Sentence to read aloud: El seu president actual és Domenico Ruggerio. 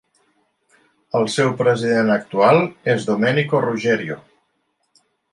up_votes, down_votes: 2, 0